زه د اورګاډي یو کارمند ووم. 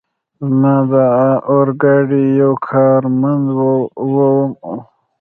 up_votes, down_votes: 1, 2